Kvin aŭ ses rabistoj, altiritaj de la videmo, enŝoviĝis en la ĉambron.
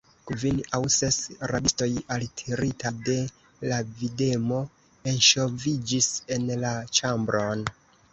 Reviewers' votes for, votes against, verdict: 0, 2, rejected